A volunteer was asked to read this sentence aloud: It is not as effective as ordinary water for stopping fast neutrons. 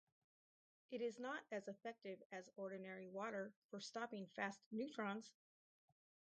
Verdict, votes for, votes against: rejected, 2, 2